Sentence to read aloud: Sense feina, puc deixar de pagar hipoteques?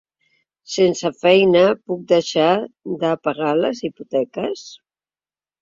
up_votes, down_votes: 1, 2